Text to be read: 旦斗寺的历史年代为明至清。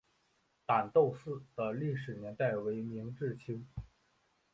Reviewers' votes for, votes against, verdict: 3, 0, accepted